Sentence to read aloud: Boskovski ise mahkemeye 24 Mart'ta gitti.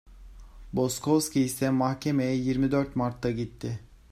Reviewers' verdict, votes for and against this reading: rejected, 0, 2